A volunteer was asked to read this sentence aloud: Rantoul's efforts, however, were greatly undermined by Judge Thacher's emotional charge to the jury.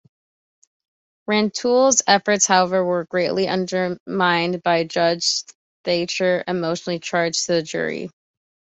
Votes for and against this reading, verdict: 1, 2, rejected